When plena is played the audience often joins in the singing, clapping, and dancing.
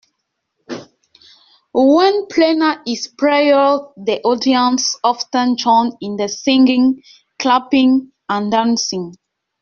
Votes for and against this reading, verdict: 0, 2, rejected